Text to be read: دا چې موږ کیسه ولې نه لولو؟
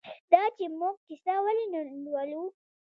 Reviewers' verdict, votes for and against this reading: accepted, 2, 0